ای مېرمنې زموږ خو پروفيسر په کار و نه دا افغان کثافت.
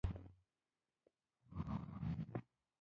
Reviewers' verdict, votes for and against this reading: rejected, 0, 2